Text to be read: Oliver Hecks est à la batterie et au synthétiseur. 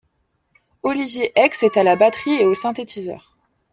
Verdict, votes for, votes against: accepted, 3, 0